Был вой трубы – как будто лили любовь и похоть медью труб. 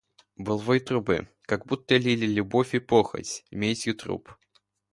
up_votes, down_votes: 2, 0